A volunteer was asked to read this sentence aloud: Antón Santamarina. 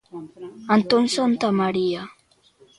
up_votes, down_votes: 0, 2